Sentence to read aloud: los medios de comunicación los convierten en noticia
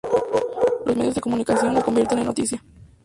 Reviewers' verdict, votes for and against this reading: rejected, 0, 2